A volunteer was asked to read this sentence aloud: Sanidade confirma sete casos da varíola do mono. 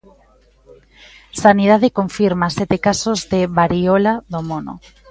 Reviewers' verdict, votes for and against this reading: rejected, 1, 2